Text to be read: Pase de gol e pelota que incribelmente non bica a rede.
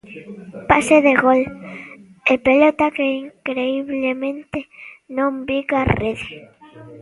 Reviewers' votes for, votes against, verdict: 0, 2, rejected